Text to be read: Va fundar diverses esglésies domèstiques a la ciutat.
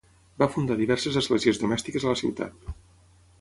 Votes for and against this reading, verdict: 6, 0, accepted